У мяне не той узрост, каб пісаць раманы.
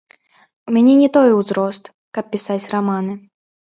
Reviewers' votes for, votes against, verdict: 1, 2, rejected